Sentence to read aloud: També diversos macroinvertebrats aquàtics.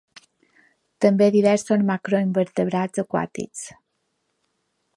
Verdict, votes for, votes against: rejected, 1, 2